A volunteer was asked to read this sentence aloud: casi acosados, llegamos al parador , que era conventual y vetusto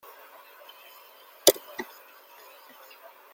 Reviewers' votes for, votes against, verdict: 0, 2, rejected